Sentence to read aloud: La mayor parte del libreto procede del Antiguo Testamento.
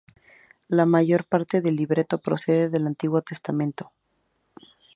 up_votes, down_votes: 2, 0